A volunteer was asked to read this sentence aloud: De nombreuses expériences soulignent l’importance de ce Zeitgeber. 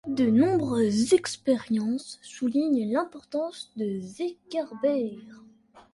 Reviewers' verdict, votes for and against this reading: accepted, 2, 0